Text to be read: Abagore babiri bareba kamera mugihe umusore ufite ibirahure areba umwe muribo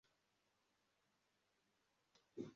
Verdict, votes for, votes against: rejected, 0, 2